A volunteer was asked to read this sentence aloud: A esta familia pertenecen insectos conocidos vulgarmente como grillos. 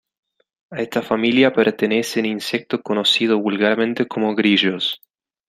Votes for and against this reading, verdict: 2, 0, accepted